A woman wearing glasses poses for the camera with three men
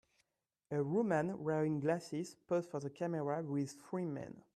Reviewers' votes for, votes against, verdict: 2, 1, accepted